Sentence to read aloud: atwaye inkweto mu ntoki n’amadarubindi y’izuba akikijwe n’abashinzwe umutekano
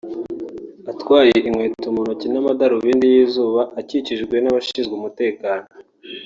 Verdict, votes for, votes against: rejected, 0, 2